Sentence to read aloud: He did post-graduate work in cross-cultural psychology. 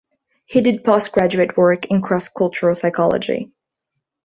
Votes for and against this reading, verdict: 2, 0, accepted